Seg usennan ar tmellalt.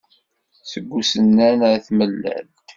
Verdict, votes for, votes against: accepted, 2, 0